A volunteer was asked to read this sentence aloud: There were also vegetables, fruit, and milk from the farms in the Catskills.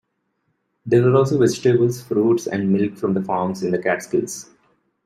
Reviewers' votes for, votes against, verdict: 0, 2, rejected